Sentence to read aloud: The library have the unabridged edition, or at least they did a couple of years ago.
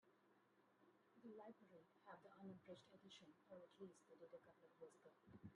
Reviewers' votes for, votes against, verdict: 1, 2, rejected